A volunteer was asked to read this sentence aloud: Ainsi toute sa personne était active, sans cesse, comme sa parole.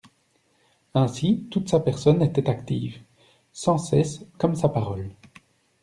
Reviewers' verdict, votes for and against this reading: accepted, 2, 0